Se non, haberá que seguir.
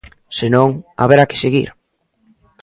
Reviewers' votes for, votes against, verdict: 2, 0, accepted